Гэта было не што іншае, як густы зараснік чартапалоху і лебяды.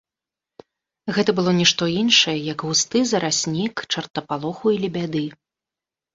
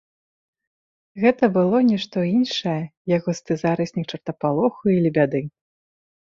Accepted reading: second